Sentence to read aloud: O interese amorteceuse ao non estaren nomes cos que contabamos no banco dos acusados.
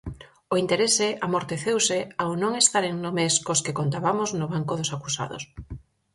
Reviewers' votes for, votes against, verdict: 4, 0, accepted